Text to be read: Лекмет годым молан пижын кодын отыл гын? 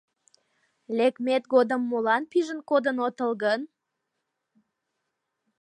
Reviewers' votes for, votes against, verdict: 2, 0, accepted